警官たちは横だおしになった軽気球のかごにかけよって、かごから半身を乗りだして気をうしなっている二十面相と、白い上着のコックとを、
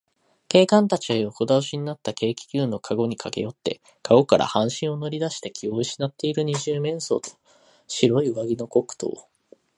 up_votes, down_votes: 2, 0